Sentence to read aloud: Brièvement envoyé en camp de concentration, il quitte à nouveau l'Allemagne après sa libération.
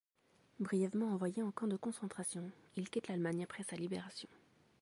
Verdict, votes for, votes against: rejected, 1, 2